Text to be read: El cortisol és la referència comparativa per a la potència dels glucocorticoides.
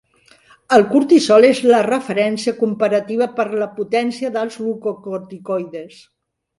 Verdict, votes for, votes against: rejected, 1, 2